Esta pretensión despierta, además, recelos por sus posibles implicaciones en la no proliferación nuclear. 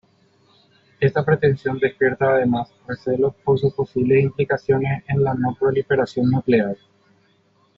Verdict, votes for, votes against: rejected, 1, 2